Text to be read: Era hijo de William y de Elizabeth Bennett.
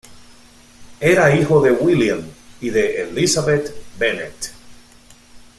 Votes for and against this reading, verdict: 2, 0, accepted